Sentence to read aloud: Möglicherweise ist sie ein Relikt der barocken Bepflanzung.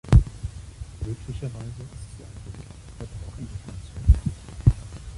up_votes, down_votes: 1, 2